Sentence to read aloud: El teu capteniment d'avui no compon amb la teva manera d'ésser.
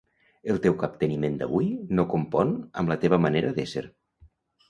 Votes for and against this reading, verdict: 2, 0, accepted